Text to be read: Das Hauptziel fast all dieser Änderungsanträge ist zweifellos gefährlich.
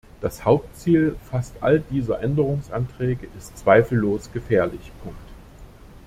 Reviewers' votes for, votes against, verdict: 1, 2, rejected